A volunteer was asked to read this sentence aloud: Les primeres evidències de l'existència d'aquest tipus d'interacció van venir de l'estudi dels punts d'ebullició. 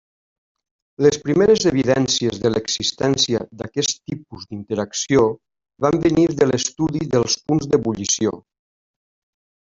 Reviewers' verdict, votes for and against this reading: accepted, 3, 0